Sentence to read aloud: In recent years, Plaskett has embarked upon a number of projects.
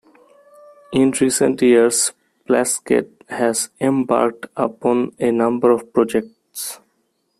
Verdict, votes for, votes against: accepted, 2, 0